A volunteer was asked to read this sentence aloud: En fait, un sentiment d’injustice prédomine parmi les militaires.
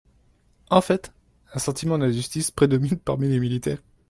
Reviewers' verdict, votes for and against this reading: rejected, 0, 2